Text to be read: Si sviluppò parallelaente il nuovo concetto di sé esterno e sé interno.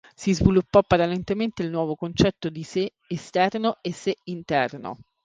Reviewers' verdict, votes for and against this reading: rejected, 0, 2